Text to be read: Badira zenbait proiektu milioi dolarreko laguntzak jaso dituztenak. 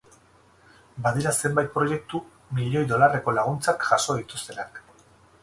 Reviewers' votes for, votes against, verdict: 0, 2, rejected